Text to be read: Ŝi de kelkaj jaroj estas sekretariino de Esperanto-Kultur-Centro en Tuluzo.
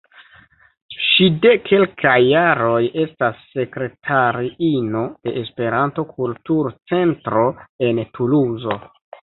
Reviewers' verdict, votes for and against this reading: accepted, 2, 0